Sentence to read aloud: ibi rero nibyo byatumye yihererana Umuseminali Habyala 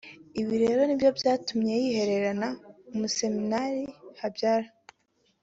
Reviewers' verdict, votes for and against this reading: accepted, 2, 0